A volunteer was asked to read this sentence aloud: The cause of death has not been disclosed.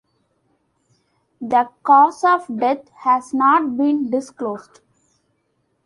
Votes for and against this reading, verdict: 2, 0, accepted